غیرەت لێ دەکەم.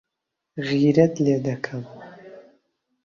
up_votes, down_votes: 2, 0